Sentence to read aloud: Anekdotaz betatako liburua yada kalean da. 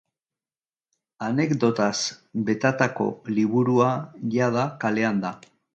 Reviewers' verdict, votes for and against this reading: accepted, 2, 0